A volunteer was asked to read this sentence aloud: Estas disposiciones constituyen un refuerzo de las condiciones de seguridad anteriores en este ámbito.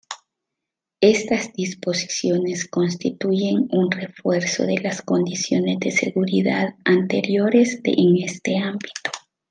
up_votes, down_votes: 0, 2